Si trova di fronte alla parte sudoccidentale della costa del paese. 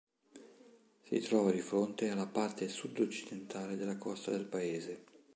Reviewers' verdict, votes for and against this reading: accepted, 2, 0